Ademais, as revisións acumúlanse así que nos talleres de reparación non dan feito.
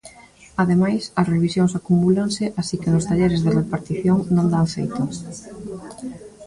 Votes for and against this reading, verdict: 1, 2, rejected